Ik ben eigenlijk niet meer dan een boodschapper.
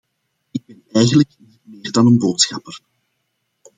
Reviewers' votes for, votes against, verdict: 1, 2, rejected